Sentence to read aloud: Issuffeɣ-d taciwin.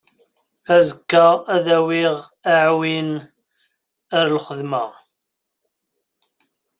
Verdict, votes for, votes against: rejected, 0, 2